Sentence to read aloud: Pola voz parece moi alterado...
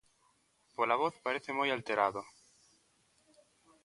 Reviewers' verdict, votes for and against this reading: accepted, 2, 0